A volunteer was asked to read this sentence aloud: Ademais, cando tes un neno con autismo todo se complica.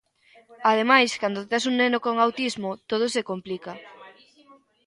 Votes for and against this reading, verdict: 2, 0, accepted